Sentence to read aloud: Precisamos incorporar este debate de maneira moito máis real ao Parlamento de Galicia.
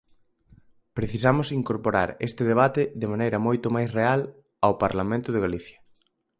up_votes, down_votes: 4, 0